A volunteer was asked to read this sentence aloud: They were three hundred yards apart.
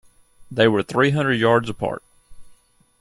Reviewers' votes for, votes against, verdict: 2, 0, accepted